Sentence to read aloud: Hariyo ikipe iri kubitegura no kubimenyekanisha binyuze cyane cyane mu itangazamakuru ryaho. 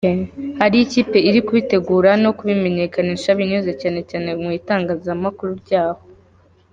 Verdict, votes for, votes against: accepted, 3, 1